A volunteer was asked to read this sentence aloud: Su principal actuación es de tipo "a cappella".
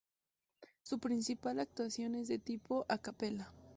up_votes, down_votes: 2, 0